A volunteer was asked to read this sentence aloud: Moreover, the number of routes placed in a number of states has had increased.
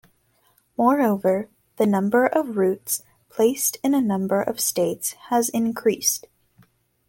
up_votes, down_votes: 1, 2